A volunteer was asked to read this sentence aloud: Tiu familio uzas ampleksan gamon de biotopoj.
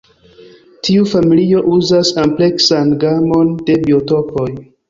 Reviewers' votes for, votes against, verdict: 2, 0, accepted